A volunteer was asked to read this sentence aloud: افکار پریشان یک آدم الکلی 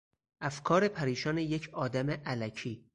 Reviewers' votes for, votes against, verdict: 0, 4, rejected